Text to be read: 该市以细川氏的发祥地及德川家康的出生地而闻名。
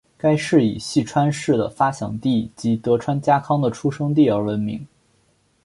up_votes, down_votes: 5, 0